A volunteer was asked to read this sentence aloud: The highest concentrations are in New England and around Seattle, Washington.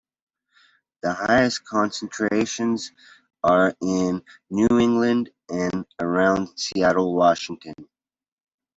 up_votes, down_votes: 2, 0